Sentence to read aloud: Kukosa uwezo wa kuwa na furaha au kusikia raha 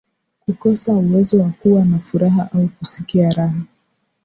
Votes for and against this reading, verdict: 1, 2, rejected